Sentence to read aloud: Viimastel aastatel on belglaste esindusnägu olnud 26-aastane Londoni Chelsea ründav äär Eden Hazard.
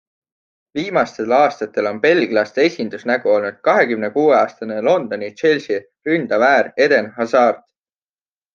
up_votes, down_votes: 0, 2